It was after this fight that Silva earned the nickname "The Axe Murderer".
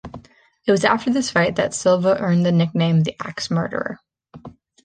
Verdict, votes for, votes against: accepted, 2, 0